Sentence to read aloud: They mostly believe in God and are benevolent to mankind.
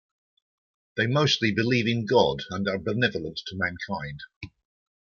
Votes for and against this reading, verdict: 1, 2, rejected